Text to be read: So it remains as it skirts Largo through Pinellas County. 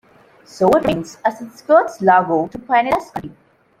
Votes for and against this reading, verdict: 0, 2, rejected